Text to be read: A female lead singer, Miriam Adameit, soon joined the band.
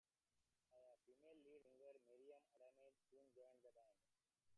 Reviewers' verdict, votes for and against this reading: rejected, 0, 2